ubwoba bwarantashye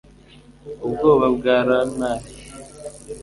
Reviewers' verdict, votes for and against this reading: rejected, 1, 2